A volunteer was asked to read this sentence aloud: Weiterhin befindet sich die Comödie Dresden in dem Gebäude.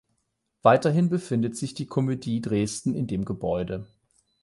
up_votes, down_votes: 4, 8